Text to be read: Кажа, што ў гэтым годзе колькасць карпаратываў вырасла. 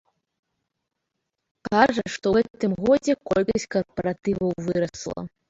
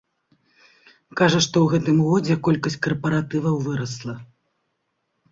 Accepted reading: second